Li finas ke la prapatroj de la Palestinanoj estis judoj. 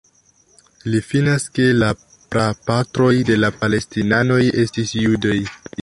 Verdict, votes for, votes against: accepted, 2, 0